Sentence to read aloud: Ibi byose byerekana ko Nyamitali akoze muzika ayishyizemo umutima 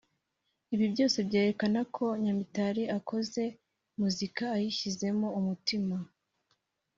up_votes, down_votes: 2, 0